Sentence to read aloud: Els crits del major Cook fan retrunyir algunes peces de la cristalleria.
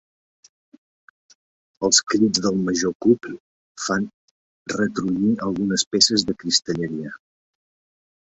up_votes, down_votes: 0, 2